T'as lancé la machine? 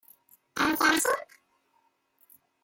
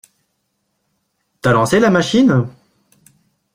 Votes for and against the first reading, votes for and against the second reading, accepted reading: 0, 2, 2, 0, second